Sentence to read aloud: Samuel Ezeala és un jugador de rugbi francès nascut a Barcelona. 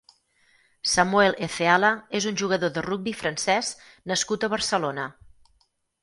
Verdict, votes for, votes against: accepted, 6, 0